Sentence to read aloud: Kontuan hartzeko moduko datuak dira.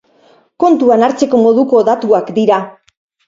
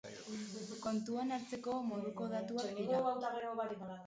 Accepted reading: first